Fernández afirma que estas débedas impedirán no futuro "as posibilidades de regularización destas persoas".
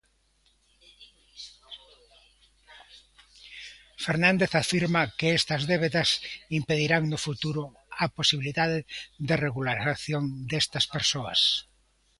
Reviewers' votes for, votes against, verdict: 0, 2, rejected